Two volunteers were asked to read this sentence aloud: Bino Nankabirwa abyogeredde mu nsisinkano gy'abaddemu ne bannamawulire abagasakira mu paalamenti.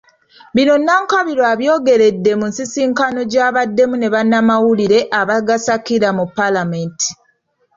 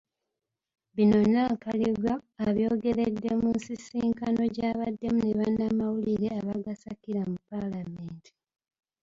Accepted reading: first